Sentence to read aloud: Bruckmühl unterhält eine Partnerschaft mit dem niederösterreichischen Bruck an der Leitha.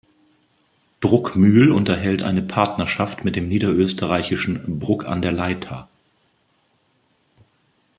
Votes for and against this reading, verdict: 2, 0, accepted